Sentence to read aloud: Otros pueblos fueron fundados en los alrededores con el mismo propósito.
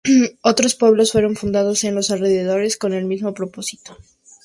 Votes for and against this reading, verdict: 0, 2, rejected